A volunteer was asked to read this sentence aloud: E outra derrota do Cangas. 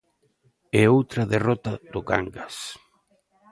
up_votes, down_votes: 2, 0